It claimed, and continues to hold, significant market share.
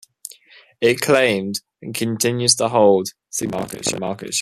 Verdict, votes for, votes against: rejected, 1, 2